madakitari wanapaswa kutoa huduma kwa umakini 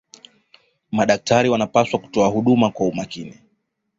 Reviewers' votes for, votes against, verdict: 2, 0, accepted